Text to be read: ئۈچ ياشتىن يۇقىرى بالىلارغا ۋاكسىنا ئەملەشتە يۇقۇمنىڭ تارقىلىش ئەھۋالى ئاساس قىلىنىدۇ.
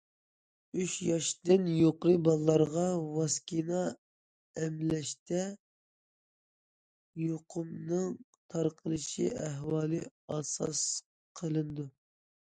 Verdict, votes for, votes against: rejected, 1, 2